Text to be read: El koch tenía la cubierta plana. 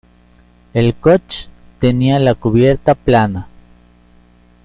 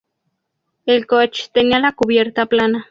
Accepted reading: second